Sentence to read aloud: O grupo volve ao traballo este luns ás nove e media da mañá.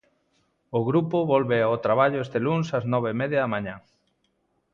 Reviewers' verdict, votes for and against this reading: accepted, 2, 0